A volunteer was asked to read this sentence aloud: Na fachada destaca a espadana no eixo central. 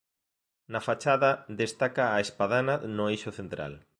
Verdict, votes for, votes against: accepted, 2, 0